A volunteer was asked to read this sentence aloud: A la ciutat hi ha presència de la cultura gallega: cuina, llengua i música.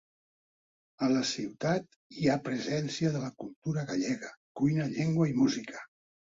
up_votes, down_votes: 2, 0